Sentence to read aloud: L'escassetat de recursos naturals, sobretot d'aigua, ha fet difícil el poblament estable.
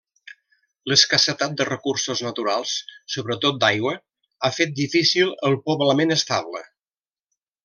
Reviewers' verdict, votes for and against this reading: accepted, 3, 0